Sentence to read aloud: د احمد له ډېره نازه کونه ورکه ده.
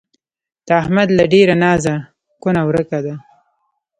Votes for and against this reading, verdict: 2, 1, accepted